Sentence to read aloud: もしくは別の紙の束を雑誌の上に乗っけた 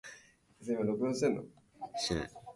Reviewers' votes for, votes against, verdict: 0, 2, rejected